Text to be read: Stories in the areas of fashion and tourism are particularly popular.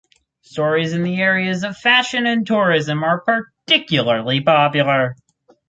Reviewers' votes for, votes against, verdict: 4, 2, accepted